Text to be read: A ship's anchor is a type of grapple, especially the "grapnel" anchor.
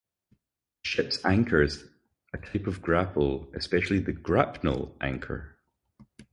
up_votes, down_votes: 2, 2